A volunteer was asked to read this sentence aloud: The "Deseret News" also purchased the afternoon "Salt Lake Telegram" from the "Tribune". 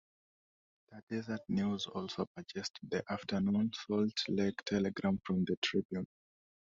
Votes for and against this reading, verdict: 0, 2, rejected